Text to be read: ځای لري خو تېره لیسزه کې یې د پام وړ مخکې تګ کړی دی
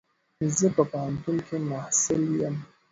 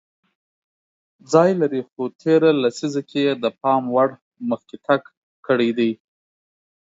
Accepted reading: second